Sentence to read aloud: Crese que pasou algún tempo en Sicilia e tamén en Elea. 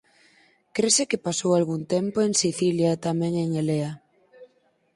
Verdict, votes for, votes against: accepted, 4, 0